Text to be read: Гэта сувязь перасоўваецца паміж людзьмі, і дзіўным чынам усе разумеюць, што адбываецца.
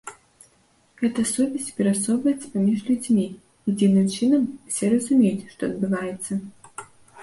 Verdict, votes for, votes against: accepted, 2, 0